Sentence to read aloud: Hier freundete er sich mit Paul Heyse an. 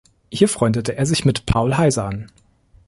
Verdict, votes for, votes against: accepted, 2, 0